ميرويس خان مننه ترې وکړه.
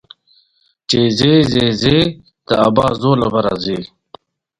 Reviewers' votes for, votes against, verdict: 1, 2, rejected